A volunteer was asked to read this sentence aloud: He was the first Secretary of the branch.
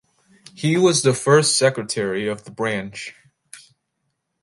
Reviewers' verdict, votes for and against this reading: accepted, 2, 0